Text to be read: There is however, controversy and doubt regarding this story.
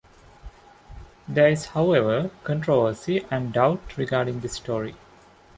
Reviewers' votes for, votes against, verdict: 2, 0, accepted